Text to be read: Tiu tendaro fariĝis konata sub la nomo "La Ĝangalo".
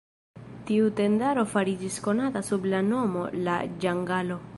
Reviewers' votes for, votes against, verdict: 1, 2, rejected